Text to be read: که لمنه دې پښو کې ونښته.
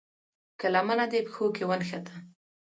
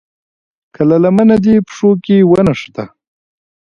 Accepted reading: second